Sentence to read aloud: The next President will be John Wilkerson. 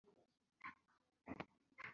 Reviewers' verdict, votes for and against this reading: rejected, 0, 2